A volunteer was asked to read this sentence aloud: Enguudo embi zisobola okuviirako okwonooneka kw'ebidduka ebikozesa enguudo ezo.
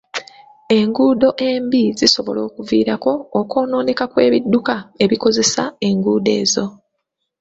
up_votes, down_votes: 2, 0